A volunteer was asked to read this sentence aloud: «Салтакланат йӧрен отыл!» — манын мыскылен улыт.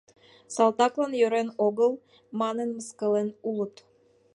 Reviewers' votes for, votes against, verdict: 0, 2, rejected